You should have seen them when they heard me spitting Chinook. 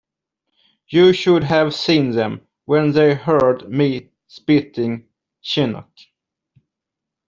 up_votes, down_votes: 1, 2